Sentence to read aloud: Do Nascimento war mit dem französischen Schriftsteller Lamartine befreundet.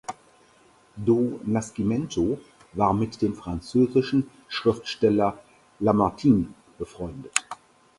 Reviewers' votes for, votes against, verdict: 4, 2, accepted